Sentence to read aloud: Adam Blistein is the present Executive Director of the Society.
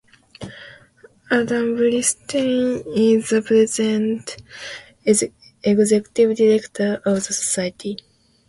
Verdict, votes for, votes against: rejected, 0, 2